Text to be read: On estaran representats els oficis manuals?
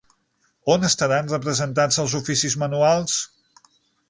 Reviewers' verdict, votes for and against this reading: accepted, 9, 0